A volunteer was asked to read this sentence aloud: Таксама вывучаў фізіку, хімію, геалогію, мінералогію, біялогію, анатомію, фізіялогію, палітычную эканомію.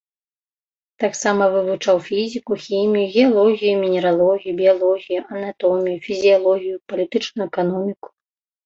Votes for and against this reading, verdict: 0, 2, rejected